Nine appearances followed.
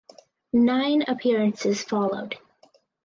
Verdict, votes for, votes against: accepted, 4, 0